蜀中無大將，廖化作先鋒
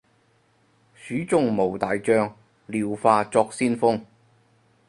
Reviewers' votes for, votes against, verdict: 2, 4, rejected